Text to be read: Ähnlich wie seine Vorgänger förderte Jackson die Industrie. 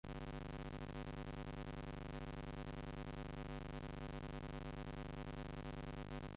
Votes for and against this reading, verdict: 0, 2, rejected